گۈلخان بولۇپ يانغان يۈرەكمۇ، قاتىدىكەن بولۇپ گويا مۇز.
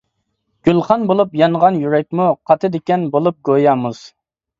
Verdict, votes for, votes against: accepted, 3, 0